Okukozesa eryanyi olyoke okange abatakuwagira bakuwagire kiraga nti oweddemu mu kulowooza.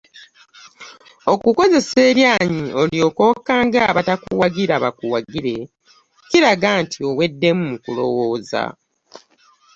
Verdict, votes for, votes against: accepted, 3, 0